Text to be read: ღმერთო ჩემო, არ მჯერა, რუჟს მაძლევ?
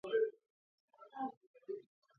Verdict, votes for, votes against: rejected, 0, 2